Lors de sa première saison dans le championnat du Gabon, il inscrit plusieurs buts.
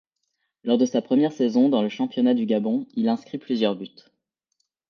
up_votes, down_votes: 2, 0